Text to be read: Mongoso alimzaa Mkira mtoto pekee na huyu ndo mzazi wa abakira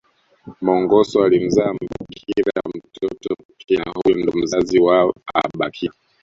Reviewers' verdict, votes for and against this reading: rejected, 0, 2